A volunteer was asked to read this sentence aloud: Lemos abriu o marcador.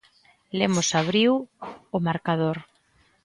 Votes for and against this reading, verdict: 2, 0, accepted